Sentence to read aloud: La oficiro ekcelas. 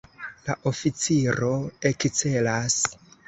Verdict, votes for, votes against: accepted, 2, 0